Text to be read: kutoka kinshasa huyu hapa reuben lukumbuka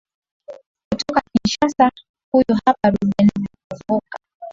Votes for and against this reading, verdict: 1, 2, rejected